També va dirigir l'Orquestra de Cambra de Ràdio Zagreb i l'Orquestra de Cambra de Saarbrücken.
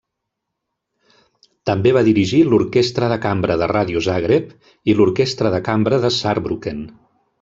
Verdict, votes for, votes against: accepted, 2, 0